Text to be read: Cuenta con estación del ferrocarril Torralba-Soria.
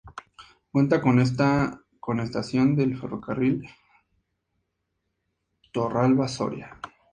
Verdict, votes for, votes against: rejected, 0, 2